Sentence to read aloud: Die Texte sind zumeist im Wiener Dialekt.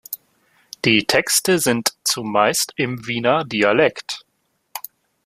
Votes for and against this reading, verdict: 2, 1, accepted